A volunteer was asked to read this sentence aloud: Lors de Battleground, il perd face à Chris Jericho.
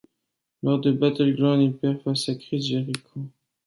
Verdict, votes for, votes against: accepted, 2, 1